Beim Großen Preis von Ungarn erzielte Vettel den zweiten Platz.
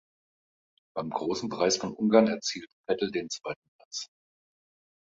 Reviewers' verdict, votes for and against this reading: accepted, 2, 1